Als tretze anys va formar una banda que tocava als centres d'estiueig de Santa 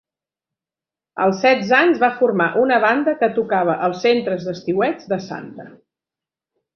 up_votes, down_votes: 0, 2